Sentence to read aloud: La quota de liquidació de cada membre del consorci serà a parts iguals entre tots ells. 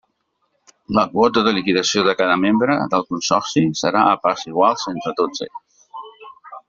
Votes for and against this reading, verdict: 2, 0, accepted